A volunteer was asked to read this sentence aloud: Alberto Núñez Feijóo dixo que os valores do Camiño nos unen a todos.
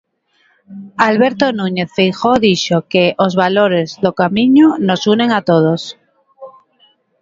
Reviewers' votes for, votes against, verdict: 0, 2, rejected